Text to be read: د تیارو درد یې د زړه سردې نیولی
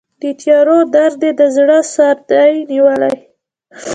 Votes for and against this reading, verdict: 2, 0, accepted